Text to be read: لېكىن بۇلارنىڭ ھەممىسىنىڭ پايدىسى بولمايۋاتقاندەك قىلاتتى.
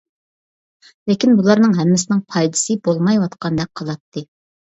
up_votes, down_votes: 2, 0